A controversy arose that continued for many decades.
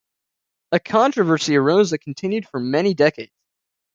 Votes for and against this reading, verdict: 1, 2, rejected